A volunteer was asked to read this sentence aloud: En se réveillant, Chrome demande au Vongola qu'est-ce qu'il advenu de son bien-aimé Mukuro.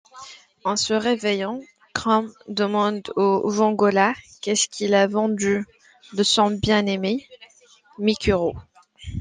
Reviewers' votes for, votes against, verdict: 1, 2, rejected